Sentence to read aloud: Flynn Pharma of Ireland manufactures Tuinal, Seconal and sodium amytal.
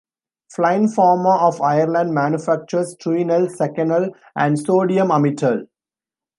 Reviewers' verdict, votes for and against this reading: rejected, 0, 2